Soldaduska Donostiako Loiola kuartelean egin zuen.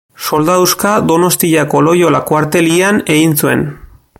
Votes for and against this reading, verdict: 2, 0, accepted